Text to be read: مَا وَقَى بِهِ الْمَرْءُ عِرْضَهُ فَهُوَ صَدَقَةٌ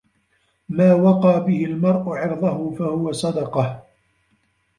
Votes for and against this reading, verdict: 0, 2, rejected